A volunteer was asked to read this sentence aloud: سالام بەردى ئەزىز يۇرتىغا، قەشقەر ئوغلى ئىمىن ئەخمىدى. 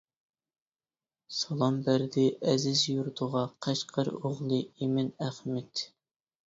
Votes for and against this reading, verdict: 2, 0, accepted